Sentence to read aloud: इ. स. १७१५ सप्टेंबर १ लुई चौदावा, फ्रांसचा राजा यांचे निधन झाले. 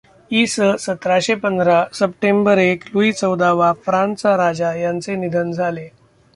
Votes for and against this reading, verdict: 0, 2, rejected